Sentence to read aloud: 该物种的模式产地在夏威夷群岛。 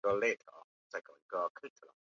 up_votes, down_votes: 0, 4